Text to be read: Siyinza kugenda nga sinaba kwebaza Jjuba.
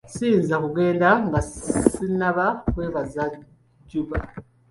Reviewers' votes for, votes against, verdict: 0, 2, rejected